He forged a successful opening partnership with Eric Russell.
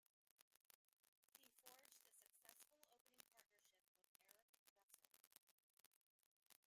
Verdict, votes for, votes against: rejected, 0, 2